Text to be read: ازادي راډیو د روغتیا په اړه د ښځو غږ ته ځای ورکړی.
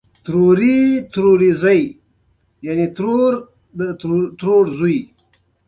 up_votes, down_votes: 2, 1